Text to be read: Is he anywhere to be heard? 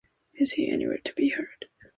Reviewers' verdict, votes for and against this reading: accepted, 2, 0